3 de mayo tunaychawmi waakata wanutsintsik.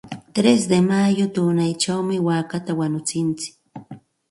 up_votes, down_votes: 0, 2